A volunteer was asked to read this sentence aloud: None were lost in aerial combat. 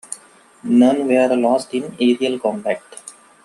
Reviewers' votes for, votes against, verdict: 3, 2, accepted